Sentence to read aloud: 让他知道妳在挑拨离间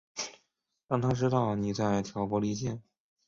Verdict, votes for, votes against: accepted, 3, 0